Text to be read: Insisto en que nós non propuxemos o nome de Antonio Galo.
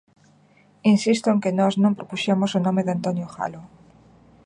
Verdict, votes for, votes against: accepted, 2, 1